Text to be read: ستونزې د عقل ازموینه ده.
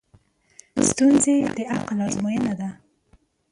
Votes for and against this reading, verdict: 2, 1, accepted